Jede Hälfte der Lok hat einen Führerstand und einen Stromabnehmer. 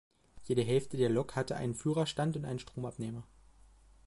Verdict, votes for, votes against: rejected, 0, 2